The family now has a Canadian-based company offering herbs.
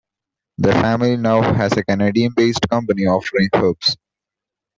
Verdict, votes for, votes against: accepted, 2, 0